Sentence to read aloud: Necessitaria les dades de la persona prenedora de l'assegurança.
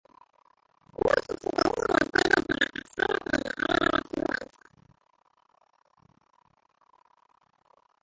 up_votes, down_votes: 0, 2